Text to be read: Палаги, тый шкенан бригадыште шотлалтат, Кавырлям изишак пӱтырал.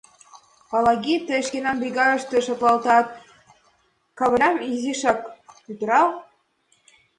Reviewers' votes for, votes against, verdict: 2, 1, accepted